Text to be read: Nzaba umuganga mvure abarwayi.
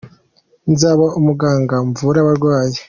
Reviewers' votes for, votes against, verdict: 2, 1, accepted